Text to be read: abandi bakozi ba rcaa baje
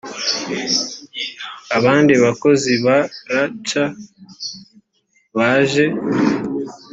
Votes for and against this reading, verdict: 2, 0, accepted